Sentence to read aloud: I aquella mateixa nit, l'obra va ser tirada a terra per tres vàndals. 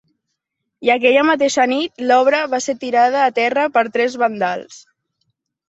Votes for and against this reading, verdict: 0, 2, rejected